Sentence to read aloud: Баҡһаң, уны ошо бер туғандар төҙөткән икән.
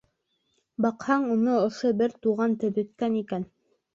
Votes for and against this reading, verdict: 1, 2, rejected